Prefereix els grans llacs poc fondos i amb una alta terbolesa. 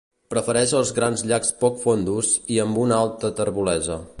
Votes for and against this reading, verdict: 2, 0, accepted